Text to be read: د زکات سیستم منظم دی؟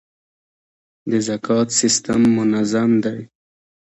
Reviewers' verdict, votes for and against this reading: rejected, 0, 2